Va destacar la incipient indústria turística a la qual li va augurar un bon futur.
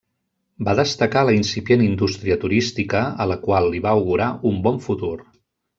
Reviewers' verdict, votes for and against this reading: accepted, 2, 0